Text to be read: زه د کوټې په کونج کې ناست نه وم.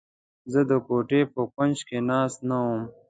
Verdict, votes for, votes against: accepted, 2, 0